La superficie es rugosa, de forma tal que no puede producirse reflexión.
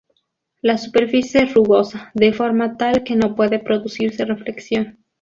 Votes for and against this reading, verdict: 2, 0, accepted